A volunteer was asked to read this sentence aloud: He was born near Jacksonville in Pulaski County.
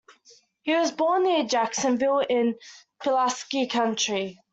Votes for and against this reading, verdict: 1, 2, rejected